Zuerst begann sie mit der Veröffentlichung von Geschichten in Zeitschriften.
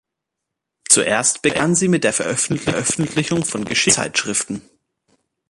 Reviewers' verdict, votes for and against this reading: rejected, 0, 2